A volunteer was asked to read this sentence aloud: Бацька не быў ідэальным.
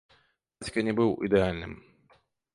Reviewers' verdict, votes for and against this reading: rejected, 1, 2